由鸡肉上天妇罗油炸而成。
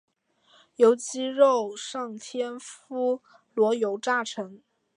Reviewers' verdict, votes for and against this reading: accepted, 6, 0